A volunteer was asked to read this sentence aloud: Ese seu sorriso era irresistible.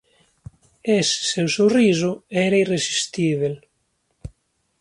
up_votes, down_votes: 2, 0